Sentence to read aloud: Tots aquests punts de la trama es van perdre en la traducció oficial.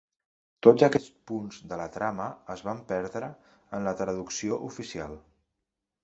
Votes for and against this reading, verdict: 2, 0, accepted